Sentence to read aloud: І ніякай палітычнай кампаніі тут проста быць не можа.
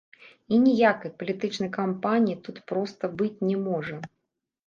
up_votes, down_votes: 0, 2